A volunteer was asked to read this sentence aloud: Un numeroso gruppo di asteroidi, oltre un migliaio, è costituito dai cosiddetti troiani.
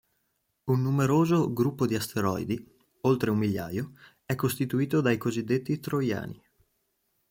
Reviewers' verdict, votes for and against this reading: accepted, 2, 0